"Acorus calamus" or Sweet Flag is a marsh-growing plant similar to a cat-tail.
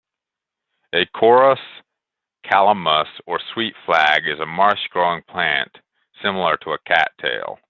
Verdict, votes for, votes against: accepted, 2, 1